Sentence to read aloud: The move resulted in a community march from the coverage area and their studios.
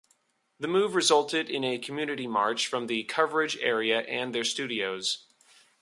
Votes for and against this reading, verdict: 2, 0, accepted